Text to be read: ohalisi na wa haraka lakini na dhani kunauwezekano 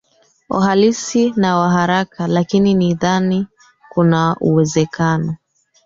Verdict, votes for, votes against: rejected, 1, 2